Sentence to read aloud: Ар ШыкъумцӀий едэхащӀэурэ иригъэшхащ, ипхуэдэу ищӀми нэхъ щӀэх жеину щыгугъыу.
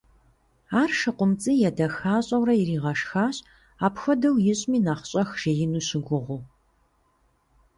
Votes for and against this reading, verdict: 2, 0, accepted